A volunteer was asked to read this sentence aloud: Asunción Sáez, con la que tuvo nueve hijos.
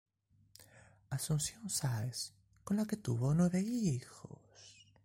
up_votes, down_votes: 3, 4